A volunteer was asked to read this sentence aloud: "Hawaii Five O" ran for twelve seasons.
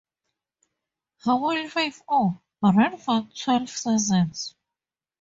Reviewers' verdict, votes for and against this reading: accepted, 2, 0